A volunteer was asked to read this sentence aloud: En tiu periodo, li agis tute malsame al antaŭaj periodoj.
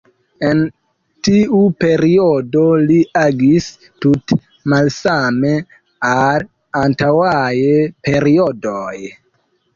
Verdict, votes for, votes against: accepted, 2, 0